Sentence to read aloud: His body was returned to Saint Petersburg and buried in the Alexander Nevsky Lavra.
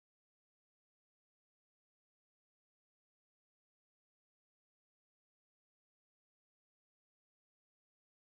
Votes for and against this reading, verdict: 0, 2, rejected